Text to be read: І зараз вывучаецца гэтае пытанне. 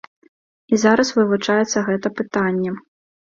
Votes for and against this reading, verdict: 0, 2, rejected